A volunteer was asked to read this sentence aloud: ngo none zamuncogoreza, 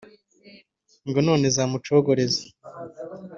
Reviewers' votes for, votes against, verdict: 2, 0, accepted